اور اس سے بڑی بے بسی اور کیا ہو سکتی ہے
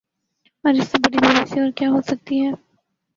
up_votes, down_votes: 1, 2